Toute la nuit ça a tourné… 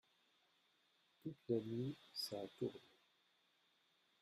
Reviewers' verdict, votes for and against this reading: rejected, 0, 2